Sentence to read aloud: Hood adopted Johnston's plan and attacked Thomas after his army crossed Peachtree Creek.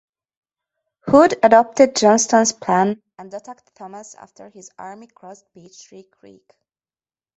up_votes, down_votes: 1, 2